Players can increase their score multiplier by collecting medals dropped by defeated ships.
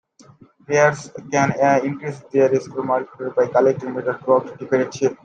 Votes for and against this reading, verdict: 1, 2, rejected